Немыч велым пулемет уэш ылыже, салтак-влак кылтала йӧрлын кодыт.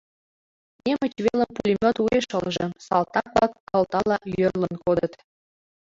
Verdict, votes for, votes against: rejected, 0, 2